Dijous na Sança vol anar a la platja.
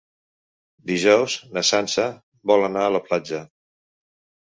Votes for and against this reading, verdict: 3, 0, accepted